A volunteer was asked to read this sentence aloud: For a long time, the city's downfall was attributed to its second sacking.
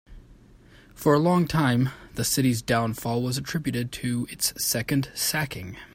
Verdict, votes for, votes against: accepted, 3, 0